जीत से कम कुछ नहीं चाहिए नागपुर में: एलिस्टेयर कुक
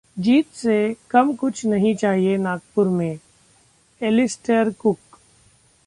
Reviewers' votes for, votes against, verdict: 2, 0, accepted